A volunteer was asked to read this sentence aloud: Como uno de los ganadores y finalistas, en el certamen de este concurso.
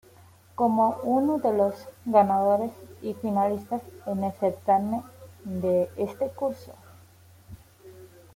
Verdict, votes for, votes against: rejected, 1, 2